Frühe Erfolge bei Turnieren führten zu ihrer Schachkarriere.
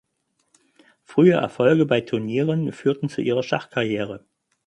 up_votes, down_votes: 4, 0